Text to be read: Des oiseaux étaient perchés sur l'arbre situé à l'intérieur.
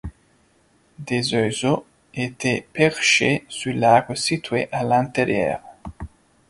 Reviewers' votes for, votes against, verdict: 2, 0, accepted